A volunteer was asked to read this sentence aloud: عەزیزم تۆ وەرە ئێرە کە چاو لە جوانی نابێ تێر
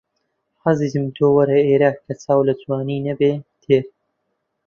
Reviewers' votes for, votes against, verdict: 0, 2, rejected